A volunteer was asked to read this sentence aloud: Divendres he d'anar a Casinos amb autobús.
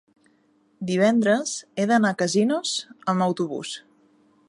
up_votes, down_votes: 3, 0